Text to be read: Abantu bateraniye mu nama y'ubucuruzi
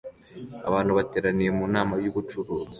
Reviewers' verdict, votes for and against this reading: accepted, 2, 0